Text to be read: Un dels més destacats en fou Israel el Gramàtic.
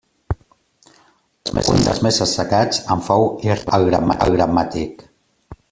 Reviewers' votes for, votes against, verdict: 0, 2, rejected